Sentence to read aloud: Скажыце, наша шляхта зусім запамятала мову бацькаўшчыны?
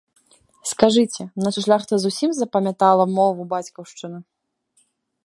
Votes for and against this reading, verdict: 0, 2, rejected